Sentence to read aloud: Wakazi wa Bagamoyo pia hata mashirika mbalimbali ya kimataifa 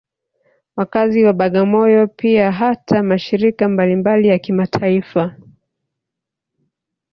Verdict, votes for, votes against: rejected, 0, 2